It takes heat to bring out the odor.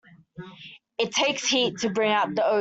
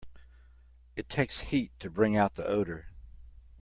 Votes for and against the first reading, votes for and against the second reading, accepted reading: 0, 2, 2, 0, second